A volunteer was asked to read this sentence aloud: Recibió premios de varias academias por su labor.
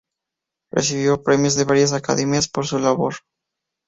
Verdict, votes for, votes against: accepted, 2, 0